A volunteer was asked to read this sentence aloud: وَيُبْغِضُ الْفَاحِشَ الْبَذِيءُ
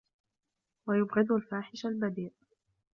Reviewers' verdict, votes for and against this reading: accepted, 2, 1